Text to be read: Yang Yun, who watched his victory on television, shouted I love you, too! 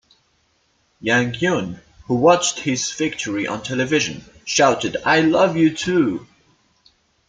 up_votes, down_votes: 2, 0